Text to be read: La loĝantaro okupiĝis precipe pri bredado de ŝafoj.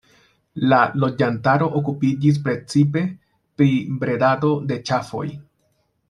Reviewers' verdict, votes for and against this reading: rejected, 1, 2